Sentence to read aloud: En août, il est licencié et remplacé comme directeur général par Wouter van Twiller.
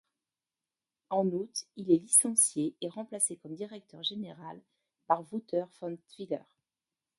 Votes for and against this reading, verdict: 1, 2, rejected